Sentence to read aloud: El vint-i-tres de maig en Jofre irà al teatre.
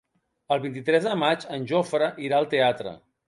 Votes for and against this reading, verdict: 3, 0, accepted